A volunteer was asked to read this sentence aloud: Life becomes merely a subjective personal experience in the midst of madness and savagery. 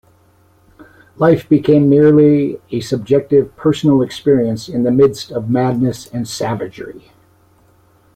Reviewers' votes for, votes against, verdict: 0, 2, rejected